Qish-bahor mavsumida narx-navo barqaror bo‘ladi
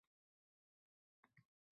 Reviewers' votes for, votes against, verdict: 1, 2, rejected